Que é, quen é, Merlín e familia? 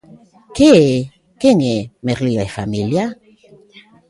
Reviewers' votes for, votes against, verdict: 1, 2, rejected